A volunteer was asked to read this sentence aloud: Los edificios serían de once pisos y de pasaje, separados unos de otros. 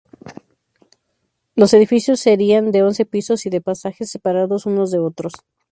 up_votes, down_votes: 2, 2